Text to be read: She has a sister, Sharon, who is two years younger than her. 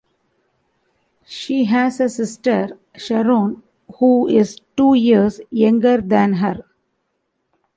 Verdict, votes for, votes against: accepted, 2, 0